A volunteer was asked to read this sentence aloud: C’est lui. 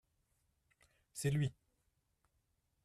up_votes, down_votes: 2, 1